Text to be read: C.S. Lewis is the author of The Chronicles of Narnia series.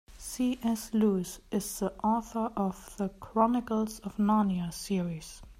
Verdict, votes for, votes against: accepted, 2, 0